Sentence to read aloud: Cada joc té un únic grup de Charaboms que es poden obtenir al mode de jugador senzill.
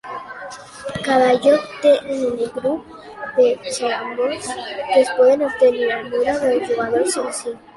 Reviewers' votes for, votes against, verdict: 1, 2, rejected